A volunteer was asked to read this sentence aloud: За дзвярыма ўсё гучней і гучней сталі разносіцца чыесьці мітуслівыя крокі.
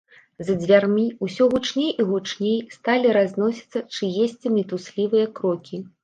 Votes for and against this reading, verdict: 0, 2, rejected